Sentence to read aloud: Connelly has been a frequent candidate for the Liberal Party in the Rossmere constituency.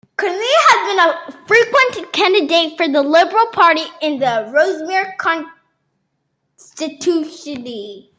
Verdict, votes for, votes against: accepted, 2, 0